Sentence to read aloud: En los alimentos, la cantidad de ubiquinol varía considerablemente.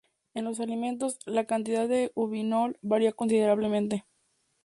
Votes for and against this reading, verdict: 0, 2, rejected